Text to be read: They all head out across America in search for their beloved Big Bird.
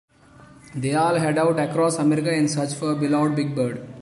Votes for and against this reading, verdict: 0, 2, rejected